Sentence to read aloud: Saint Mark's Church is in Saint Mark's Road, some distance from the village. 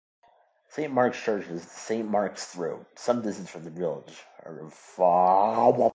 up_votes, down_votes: 0, 2